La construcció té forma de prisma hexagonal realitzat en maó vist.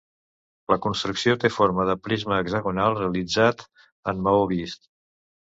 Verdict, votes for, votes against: accepted, 2, 0